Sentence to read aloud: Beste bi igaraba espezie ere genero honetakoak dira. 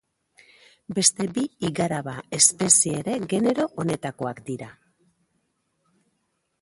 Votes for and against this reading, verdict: 1, 2, rejected